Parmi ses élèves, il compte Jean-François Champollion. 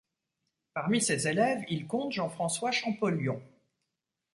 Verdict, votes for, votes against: accepted, 2, 0